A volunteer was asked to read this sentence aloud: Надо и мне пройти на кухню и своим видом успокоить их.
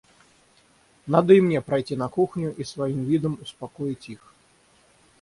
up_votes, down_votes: 6, 0